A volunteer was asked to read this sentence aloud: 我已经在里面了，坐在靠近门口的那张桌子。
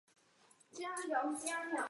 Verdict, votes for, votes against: rejected, 1, 2